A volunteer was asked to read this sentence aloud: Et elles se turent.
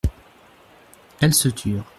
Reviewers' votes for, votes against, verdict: 0, 2, rejected